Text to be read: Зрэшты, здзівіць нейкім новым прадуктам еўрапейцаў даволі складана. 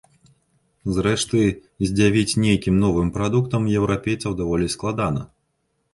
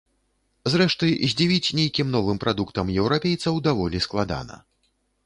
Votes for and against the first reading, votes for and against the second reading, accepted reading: 0, 2, 2, 0, second